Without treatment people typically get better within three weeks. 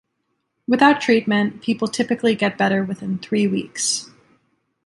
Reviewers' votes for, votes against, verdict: 2, 0, accepted